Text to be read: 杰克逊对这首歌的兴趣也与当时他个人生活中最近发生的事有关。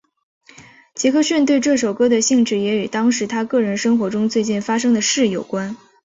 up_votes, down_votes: 7, 1